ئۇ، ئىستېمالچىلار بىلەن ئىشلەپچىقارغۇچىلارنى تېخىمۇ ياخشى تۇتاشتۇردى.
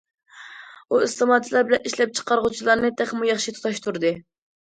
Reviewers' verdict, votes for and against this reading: accepted, 2, 0